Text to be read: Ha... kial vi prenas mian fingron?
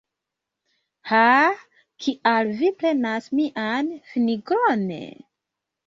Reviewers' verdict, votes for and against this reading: rejected, 0, 2